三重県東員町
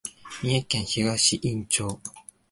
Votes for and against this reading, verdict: 2, 0, accepted